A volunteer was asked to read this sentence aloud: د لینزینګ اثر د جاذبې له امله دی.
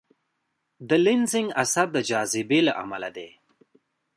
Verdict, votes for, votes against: rejected, 0, 2